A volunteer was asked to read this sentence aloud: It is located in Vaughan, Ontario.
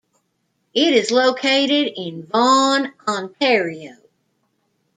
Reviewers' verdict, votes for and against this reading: accepted, 2, 0